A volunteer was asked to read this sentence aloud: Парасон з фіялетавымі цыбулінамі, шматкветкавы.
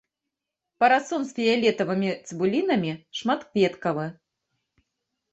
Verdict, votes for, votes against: rejected, 0, 2